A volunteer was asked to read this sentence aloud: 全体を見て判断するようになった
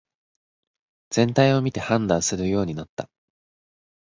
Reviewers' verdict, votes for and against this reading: accepted, 4, 0